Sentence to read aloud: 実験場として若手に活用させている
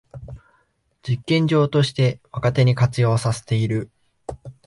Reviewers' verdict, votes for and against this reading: accepted, 2, 0